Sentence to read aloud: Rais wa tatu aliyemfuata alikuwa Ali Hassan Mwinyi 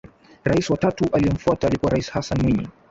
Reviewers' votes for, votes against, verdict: 1, 2, rejected